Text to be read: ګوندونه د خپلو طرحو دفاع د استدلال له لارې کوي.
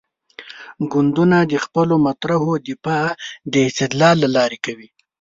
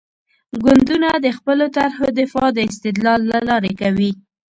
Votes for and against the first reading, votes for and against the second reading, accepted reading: 1, 2, 2, 0, second